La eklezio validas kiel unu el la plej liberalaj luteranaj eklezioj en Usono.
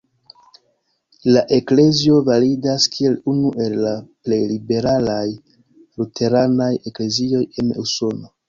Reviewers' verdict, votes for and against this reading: rejected, 0, 2